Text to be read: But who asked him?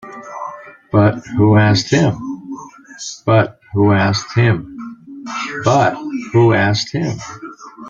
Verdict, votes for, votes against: rejected, 1, 2